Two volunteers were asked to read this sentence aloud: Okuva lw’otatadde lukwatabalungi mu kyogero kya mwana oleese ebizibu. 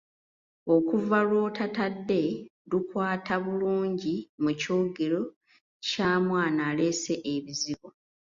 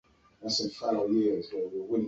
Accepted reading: first